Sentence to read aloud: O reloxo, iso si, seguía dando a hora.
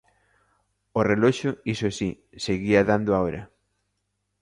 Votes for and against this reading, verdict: 2, 0, accepted